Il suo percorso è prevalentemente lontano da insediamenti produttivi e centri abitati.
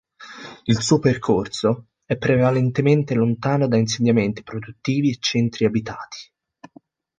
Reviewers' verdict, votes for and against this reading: accepted, 2, 0